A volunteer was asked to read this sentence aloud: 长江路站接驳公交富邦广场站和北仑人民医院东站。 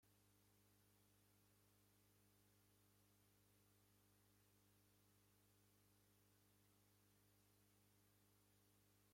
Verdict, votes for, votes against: rejected, 0, 2